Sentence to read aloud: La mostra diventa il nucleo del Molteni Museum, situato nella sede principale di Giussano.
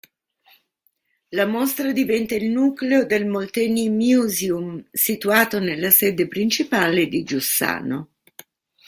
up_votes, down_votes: 0, 2